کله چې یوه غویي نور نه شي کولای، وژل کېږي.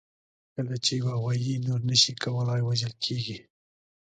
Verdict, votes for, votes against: accepted, 2, 0